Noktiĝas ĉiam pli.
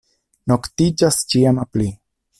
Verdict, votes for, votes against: rejected, 0, 2